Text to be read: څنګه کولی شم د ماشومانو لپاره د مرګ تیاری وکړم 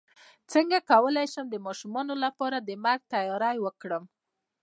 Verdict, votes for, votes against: rejected, 1, 2